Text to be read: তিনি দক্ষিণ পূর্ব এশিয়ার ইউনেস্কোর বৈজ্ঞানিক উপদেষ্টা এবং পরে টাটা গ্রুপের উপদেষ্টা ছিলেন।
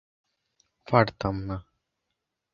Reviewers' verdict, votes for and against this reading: rejected, 0, 2